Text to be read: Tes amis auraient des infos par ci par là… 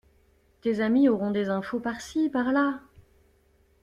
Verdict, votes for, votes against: rejected, 0, 2